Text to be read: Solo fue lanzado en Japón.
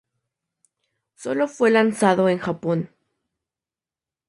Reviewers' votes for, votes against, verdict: 2, 0, accepted